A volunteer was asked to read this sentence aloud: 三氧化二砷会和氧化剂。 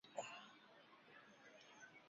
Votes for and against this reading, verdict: 0, 2, rejected